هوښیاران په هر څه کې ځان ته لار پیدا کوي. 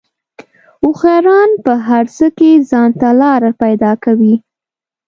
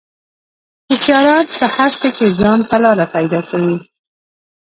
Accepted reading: first